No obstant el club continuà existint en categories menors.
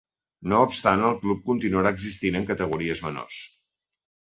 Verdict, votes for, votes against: rejected, 0, 2